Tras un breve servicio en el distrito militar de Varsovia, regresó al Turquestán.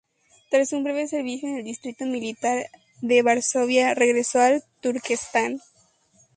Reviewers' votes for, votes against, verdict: 2, 0, accepted